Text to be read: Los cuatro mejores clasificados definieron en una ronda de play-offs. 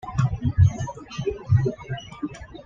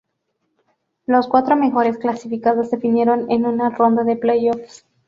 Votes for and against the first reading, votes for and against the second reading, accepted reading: 1, 2, 2, 0, second